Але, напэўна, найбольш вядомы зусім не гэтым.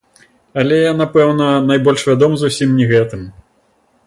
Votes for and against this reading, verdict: 0, 2, rejected